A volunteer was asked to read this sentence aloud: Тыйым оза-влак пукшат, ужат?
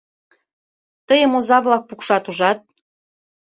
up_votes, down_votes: 3, 0